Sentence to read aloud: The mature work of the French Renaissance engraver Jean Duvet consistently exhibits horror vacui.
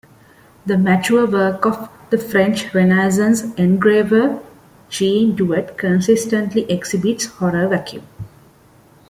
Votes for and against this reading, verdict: 2, 0, accepted